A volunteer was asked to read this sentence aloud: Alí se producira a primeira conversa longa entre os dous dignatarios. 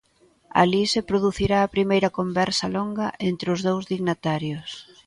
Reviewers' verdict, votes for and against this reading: accepted, 2, 0